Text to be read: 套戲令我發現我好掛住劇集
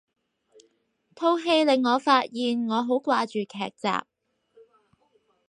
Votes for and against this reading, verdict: 4, 0, accepted